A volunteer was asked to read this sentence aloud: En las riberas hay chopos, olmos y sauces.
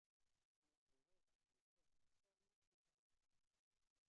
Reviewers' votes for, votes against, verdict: 0, 2, rejected